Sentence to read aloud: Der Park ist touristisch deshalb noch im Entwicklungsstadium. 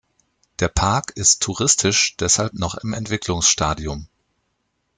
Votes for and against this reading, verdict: 2, 0, accepted